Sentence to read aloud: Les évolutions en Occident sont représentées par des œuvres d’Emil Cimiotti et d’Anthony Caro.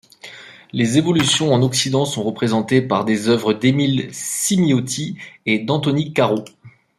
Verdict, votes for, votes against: accepted, 2, 0